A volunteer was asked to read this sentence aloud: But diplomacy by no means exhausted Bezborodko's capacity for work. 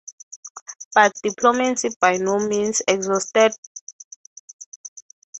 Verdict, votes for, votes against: rejected, 0, 6